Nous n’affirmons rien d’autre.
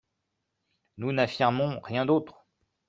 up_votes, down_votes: 1, 2